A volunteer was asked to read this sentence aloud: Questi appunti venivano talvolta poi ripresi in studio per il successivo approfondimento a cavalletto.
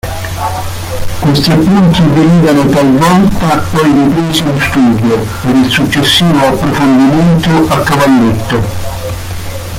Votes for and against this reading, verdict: 1, 2, rejected